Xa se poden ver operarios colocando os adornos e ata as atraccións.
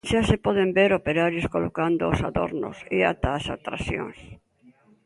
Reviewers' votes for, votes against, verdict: 2, 0, accepted